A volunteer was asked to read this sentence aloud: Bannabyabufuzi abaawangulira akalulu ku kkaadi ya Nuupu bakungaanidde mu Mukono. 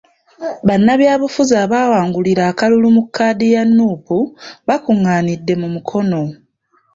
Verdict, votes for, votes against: rejected, 0, 2